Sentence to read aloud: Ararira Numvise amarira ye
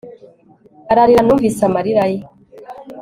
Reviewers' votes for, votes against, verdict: 4, 0, accepted